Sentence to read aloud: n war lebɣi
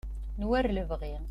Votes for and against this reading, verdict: 2, 0, accepted